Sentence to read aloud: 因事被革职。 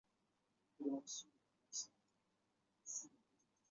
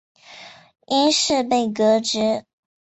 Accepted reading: second